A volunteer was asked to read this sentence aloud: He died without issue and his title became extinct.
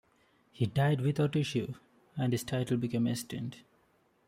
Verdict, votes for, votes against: accepted, 2, 0